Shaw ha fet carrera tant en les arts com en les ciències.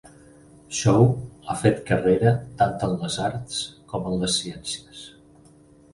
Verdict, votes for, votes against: accepted, 4, 0